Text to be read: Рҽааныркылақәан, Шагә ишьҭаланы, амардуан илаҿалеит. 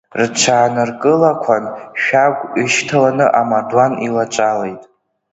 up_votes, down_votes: 0, 2